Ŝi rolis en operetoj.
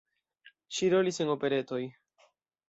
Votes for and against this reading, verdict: 2, 0, accepted